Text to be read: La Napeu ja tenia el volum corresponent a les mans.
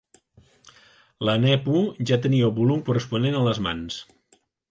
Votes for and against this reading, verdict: 0, 2, rejected